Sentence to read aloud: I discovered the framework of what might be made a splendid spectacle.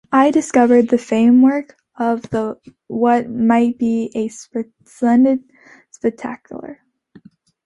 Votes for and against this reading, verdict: 0, 2, rejected